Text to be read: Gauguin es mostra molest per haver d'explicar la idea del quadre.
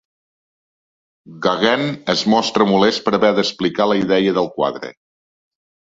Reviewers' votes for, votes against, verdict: 1, 2, rejected